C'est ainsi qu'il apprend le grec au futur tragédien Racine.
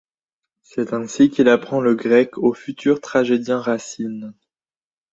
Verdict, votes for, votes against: accepted, 2, 0